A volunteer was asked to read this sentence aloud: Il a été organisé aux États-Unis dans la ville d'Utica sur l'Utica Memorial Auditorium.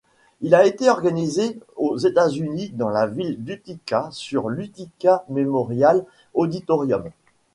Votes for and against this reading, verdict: 1, 2, rejected